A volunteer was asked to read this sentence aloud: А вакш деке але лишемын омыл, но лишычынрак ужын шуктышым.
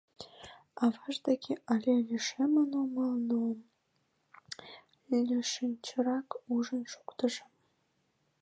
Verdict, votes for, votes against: rejected, 1, 2